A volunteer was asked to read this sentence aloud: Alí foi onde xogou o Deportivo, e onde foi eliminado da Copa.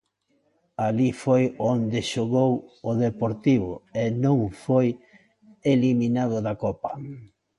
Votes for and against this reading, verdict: 1, 2, rejected